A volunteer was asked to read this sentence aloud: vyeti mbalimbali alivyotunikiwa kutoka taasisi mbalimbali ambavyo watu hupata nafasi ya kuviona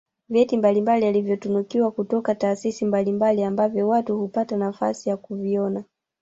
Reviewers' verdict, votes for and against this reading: rejected, 0, 2